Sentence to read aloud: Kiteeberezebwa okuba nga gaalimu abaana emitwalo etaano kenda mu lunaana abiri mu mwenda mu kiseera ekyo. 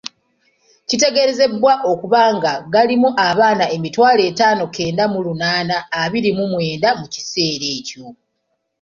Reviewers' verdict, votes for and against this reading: rejected, 1, 2